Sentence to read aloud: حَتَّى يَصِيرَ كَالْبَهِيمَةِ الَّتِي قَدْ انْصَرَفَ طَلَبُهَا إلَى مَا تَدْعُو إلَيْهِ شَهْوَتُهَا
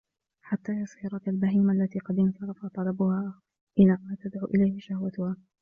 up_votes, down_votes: 2, 0